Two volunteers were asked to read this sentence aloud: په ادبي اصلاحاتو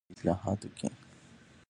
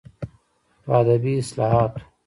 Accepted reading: second